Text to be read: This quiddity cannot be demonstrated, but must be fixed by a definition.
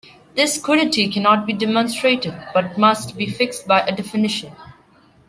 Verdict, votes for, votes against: accepted, 2, 1